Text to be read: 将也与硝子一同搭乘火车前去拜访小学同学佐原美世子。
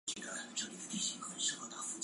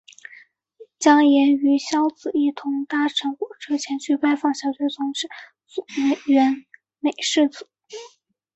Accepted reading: second